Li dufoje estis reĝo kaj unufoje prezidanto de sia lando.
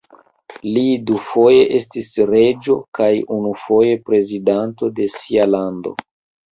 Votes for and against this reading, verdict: 2, 0, accepted